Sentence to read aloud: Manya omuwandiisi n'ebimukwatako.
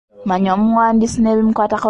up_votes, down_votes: 1, 2